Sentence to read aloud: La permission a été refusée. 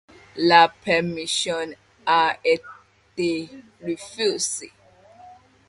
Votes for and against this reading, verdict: 0, 2, rejected